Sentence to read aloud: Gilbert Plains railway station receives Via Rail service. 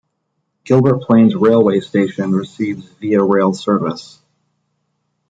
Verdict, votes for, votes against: accepted, 2, 0